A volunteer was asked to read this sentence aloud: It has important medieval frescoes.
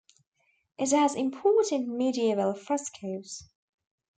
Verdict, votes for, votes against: accepted, 2, 0